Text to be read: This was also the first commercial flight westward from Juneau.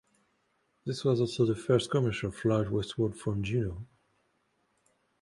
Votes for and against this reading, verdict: 2, 1, accepted